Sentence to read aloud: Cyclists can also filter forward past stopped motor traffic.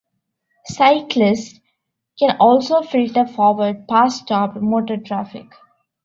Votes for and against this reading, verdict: 2, 0, accepted